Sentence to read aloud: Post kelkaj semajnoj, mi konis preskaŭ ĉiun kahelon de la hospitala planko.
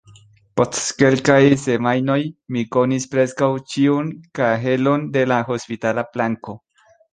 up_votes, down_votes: 2, 0